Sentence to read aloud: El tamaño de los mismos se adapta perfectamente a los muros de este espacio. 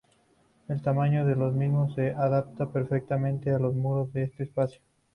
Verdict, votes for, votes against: rejected, 2, 2